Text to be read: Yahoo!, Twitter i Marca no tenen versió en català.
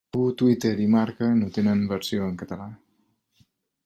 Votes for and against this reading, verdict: 1, 2, rejected